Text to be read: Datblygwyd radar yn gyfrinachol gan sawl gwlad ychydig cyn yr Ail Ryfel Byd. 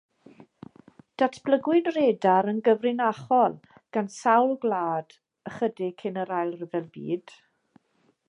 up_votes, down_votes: 2, 0